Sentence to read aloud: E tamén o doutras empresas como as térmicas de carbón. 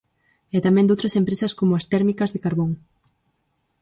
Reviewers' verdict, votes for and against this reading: rejected, 2, 4